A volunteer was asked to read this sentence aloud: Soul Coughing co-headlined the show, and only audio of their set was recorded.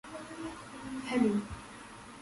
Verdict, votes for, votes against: rejected, 0, 2